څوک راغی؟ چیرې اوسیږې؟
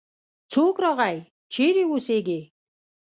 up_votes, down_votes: 2, 0